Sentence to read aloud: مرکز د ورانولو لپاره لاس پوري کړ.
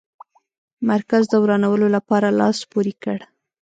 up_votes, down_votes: 2, 0